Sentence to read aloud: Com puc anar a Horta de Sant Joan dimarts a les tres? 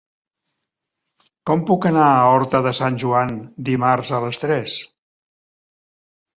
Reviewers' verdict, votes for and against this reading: accepted, 3, 0